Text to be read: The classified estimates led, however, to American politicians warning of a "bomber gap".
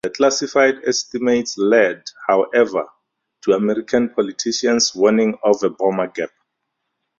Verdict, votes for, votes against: accepted, 4, 0